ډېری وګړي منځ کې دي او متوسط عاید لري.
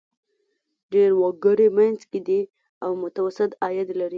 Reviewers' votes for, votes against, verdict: 2, 0, accepted